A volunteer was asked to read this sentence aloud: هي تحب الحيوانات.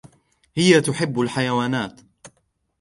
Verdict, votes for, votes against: accepted, 2, 0